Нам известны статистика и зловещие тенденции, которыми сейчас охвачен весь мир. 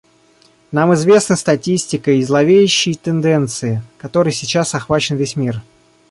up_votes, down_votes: 0, 2